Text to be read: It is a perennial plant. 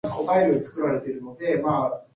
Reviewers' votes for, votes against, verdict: 0, 2, rejected